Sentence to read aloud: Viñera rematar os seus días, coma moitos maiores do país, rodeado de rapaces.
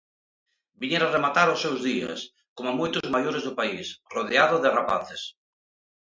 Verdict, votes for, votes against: accepted, 2, 0